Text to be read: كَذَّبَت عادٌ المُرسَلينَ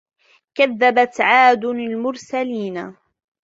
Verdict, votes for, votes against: accepted, 2, 1